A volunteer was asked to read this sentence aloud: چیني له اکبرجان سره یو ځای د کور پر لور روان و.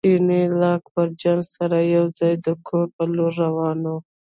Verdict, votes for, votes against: rejected, 0, 2